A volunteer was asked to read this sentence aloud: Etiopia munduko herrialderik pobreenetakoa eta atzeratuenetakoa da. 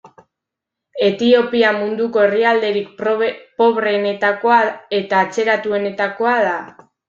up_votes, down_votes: 0, 2